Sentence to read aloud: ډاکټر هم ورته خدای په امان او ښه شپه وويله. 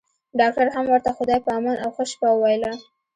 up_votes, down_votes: 2, 1